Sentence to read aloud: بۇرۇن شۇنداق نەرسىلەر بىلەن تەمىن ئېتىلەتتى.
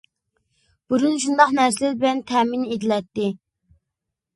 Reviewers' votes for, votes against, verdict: 0, 2, rejected